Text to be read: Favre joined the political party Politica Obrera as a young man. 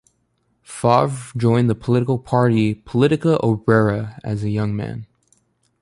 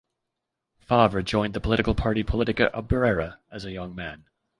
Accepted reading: second